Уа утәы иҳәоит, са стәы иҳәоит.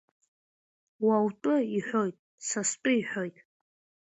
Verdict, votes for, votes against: accepted, 2, 0